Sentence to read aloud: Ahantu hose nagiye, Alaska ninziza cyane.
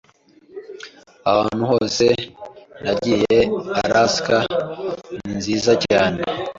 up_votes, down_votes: 2, 0